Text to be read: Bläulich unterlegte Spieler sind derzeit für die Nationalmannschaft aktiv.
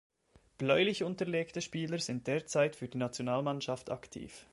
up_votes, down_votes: 2, 0